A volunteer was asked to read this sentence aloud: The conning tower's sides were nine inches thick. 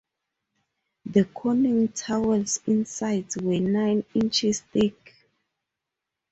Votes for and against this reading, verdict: 0, 6, rejected